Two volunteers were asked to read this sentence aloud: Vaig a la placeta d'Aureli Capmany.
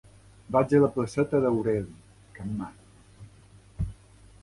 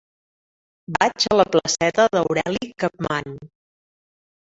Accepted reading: second